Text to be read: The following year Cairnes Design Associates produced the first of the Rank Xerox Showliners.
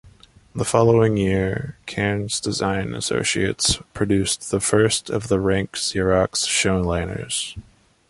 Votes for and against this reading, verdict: 2, 0, accepted